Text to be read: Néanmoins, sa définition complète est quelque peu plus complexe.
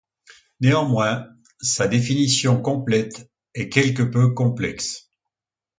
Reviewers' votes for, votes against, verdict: 2, 1, accepted